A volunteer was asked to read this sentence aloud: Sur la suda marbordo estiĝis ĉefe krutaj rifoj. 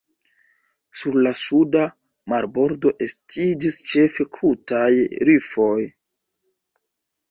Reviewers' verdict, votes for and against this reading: accepted, 2, 0